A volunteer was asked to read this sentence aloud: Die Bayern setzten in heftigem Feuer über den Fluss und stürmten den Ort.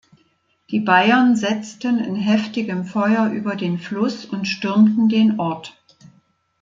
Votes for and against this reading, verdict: 2, 0, accepted